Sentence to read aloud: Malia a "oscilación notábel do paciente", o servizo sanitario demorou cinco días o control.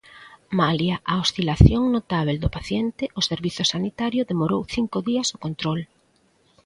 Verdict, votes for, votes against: accepted, 2, 0